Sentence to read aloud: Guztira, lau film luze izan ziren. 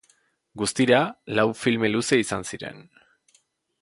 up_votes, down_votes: 2, 1